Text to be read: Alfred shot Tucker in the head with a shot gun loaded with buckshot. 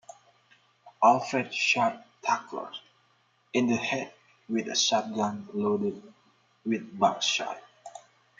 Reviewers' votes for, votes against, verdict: 2, 1, accepted